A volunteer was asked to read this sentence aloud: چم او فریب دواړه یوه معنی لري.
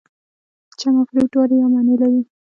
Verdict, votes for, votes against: accepted, 2, 0